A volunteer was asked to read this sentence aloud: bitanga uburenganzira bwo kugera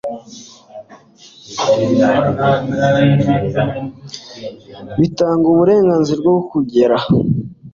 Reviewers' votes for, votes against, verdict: 2, 0, accepted